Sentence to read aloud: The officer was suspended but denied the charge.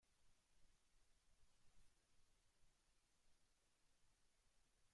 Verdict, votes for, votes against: rejected, 0, 2